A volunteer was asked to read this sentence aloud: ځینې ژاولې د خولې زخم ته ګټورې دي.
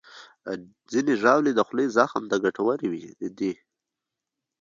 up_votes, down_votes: 2, 1